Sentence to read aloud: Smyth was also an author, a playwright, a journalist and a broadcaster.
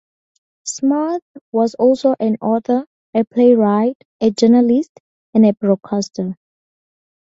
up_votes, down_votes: 2, 0